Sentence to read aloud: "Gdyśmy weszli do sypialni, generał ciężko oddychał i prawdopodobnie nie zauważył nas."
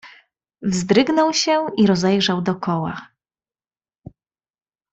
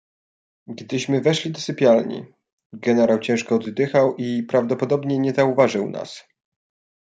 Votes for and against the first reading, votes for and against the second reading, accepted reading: 1, 2, 2, 0, second